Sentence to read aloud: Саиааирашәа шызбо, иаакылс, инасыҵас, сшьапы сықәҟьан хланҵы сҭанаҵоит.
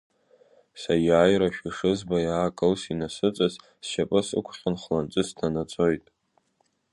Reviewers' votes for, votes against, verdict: 2, 0, accepted